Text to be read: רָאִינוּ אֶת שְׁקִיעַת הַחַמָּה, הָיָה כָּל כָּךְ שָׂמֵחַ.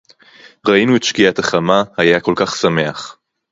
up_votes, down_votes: 0, 2